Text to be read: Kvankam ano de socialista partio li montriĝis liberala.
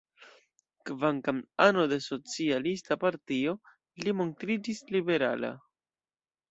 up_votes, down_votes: 1, 2